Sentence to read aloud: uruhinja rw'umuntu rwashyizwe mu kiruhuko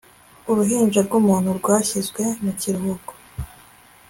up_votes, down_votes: 2, 0